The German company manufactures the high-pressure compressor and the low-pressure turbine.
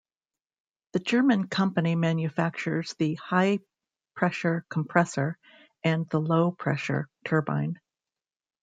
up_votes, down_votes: 2, 0